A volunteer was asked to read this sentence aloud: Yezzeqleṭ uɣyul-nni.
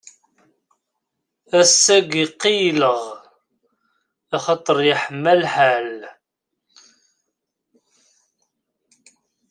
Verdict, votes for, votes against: rejected, 0, 2